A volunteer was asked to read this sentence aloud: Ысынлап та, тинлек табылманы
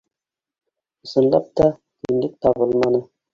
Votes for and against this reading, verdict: 2, 1, accepted